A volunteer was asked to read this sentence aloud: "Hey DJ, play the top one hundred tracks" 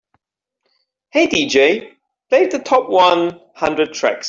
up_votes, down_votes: 2, 0